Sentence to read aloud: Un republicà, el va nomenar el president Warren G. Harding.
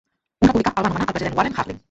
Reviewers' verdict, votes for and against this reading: rejected, 0, 2